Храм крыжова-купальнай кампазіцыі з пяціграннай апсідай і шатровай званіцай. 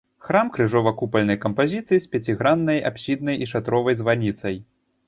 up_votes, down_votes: 0, 2